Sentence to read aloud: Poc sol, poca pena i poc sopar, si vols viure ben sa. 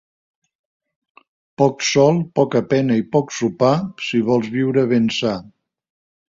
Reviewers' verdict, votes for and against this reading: accepted, 2, 0